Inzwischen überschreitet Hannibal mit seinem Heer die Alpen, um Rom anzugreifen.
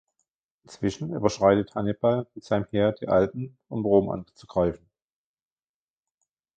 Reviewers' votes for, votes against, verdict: 0, 2, rejected